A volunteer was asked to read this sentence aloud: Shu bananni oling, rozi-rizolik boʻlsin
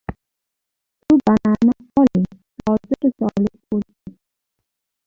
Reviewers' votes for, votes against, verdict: 0, 2, rejected